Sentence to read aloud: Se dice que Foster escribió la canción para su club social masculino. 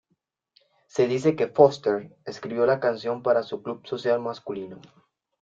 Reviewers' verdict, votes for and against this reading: accepted, 2, 0